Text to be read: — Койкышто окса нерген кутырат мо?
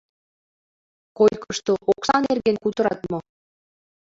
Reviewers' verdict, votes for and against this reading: rejected, 0, 2